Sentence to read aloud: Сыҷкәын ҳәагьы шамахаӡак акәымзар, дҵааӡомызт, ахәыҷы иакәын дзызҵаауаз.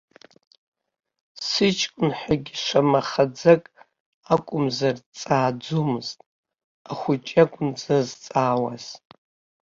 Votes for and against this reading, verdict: 0, 2, rejected